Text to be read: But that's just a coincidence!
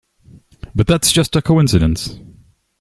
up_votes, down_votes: 2, 0